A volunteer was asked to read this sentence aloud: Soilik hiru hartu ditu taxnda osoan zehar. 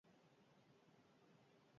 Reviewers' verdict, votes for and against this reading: rejected, 0, 2